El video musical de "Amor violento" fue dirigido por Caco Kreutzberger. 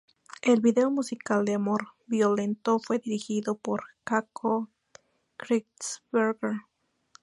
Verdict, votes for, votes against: accepted, 2, 0